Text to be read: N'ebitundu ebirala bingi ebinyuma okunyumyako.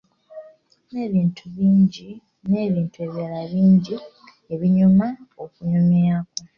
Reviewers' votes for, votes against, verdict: 0, 3, rejected